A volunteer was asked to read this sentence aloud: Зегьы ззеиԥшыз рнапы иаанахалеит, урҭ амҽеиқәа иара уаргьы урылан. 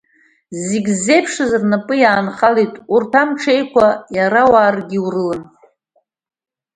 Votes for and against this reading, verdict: 2, 1, accepted